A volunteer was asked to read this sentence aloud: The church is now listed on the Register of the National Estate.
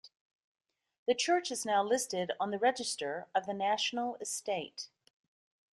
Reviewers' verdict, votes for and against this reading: accepted, 2, 0